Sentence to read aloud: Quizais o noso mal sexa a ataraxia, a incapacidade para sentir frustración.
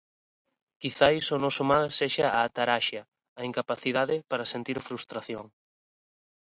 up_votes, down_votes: 0, 2